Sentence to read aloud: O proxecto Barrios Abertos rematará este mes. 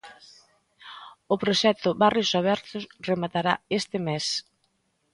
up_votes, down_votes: 2, 0